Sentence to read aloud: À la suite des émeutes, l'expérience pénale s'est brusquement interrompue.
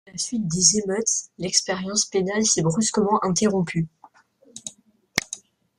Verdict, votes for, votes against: rejected, 1, 2